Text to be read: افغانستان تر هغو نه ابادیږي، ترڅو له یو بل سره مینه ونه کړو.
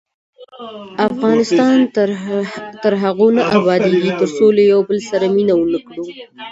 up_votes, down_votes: 2, 1